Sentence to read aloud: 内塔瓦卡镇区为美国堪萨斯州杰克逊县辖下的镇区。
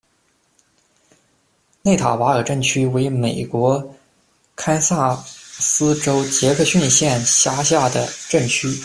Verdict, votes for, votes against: rejected, 1, 2